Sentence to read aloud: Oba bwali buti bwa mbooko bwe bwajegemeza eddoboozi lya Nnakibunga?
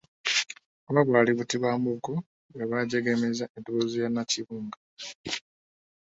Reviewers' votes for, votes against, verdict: 1, 2, rejected